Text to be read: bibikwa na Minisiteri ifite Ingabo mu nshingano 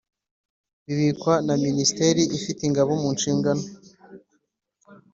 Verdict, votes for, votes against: accepted, 2, 0